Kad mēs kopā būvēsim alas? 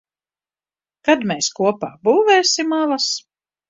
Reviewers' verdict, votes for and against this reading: accepted, 2, 0